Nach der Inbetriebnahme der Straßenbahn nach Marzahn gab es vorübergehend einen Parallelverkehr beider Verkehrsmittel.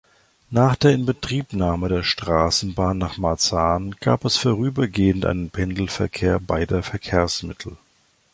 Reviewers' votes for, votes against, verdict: 0, 2, rejected